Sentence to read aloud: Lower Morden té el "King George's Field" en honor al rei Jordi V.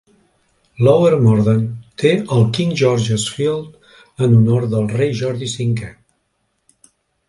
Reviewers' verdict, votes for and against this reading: rejected, 1, 2